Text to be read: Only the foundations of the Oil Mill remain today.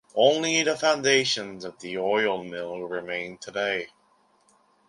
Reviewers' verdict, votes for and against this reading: accepted, 2, 0